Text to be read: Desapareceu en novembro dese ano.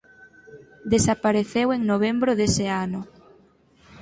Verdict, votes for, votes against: accepted, 4, 0